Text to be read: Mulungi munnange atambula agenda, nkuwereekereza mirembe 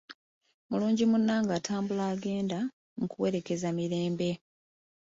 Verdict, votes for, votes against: accepted, 2, 0